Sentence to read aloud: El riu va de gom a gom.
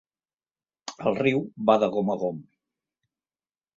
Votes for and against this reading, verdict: 3, 0, accepted